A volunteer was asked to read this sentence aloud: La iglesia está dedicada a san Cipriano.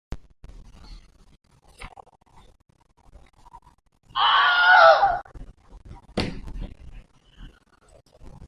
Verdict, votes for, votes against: rejected, 0, 2